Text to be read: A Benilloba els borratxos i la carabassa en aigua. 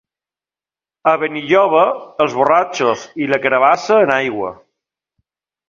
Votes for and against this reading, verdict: 2, 0, accepted